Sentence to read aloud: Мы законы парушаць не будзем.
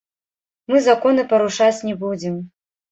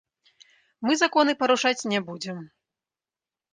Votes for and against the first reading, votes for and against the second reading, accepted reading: 0, 2, 2, 0, second